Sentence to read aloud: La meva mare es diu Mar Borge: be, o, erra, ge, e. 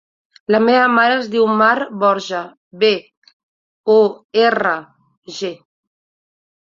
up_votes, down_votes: 0, 2